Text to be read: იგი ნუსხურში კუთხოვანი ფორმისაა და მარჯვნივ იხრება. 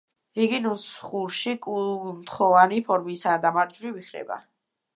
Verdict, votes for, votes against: rejected, 1, 2